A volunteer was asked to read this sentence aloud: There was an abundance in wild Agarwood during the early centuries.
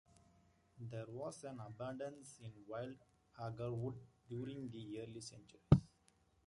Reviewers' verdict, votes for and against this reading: accepted, 2, 1